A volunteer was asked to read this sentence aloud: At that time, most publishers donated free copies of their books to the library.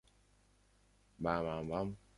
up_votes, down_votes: 0, 2